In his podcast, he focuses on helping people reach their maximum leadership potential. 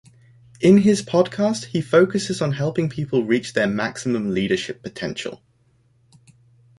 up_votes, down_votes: 1, 2